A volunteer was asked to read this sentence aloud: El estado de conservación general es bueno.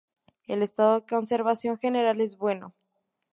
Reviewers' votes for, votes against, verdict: 2, 0, accepted